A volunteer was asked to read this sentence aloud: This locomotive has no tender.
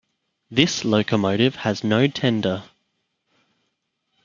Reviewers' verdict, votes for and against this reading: accepted, 2, 0